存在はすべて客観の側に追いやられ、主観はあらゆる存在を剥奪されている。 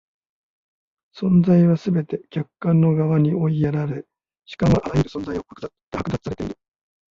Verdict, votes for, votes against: rejected, 1, 2